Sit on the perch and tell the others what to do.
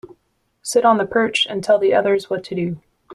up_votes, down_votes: 2, 0